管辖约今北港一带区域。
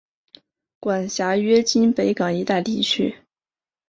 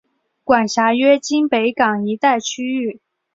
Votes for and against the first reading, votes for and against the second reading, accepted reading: 1, 2, 3, 0, second